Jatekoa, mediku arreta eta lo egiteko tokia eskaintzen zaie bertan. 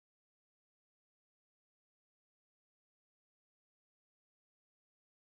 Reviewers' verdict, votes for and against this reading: rejected, 0, 3